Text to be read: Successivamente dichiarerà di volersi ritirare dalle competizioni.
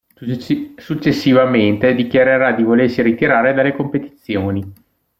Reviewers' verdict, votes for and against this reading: rejected, 0, 2